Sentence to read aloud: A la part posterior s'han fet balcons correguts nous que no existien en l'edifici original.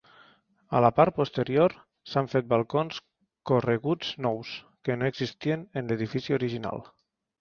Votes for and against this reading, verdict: 2, 0, accepted